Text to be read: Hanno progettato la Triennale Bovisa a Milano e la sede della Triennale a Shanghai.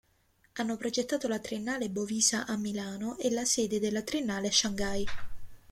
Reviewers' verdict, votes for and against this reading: accepted, 2, 0